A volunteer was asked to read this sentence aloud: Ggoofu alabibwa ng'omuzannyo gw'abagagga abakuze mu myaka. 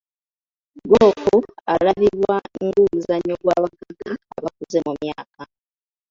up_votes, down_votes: 1, 2